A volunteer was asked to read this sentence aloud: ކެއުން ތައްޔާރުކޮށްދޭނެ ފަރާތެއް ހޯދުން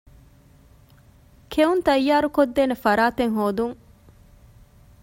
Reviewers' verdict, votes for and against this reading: accepted, 2, 0